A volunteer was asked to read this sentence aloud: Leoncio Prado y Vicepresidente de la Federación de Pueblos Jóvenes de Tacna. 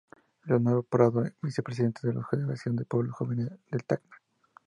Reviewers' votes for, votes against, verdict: 0, 2, rejected